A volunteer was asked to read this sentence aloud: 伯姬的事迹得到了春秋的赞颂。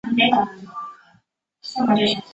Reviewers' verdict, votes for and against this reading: rejected, 0, 2